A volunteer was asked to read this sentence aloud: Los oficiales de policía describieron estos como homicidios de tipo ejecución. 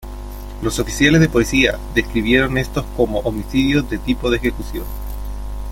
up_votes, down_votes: 2, 0